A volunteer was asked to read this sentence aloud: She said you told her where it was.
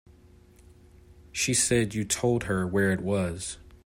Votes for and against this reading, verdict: 2, 0, accepted